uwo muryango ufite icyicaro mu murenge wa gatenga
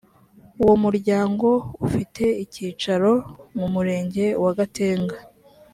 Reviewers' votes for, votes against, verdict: 2, 0, accepted